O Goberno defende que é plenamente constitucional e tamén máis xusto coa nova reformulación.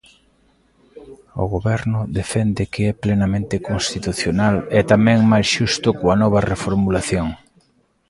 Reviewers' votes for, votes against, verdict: 1, 2, rejected